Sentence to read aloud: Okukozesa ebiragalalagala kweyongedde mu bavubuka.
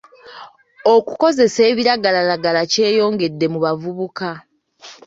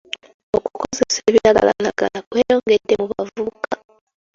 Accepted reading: second